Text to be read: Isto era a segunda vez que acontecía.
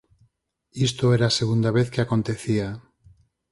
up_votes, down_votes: 4, 0